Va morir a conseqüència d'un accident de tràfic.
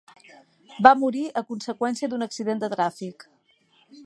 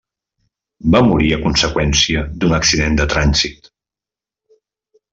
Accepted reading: first